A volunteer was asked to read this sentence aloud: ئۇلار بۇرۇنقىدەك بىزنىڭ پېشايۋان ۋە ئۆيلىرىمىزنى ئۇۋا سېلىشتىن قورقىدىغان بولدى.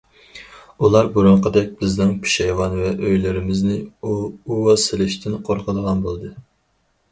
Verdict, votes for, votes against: rejected, 0, 4